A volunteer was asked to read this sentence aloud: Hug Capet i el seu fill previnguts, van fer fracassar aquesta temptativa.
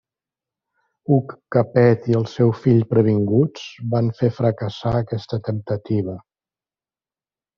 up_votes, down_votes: 2, 0